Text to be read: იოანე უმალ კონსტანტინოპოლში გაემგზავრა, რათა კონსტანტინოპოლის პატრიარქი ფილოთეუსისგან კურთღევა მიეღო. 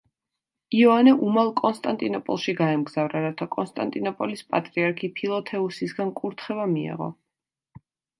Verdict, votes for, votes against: accepted, 2, 0